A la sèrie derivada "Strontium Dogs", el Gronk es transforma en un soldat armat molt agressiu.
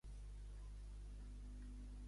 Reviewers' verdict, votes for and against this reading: rejected, 0, 2